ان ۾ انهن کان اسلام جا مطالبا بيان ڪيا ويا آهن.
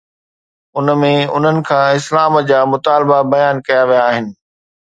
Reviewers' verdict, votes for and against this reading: accepted, 2, 0